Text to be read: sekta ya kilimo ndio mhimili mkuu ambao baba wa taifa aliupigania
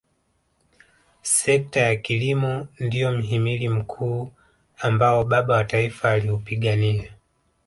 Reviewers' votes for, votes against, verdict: 0, 2, rejected